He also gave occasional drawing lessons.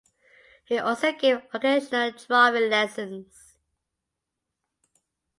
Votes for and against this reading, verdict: 2, 0, accepted